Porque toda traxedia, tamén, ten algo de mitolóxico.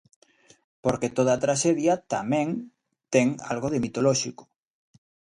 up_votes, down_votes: 2, 0